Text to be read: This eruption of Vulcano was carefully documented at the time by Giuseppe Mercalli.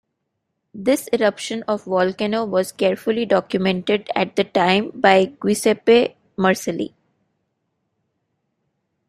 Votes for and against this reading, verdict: 0, 2, rejected